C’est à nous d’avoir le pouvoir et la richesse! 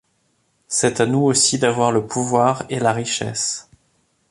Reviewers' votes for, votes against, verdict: 1, 2, rejected